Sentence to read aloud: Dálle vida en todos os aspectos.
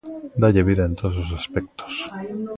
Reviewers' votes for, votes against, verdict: 2, 1, accepted